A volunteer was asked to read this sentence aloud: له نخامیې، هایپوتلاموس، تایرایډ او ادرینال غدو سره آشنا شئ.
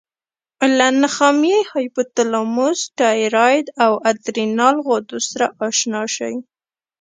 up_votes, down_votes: 0, 2